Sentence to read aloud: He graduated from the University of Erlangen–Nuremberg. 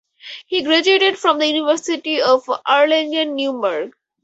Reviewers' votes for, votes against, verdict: 2, 0, accepted